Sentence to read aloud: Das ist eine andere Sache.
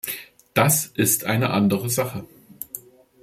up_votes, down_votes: 2, 0